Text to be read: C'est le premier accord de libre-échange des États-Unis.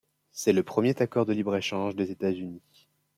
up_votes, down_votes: 1, 2